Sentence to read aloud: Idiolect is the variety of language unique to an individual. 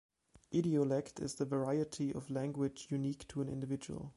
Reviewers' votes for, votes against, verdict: 2, 0, accepted